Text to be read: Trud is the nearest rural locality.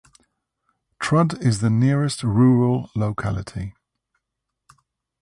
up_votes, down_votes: 8, 0